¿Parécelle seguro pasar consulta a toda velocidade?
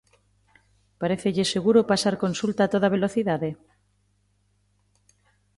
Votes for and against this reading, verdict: 3, 0, accepted